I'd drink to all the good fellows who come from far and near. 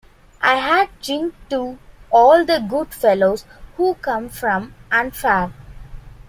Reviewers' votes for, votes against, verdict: 0, 2, rejected